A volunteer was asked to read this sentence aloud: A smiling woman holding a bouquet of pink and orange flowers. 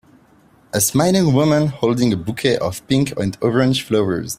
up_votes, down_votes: 2, 0